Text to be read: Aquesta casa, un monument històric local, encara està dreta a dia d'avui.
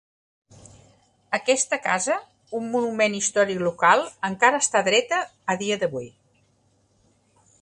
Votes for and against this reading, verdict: 2, 0, accepted